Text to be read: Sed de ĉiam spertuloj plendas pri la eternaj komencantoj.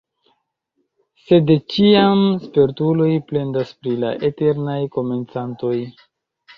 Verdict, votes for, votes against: accepted, 2, 1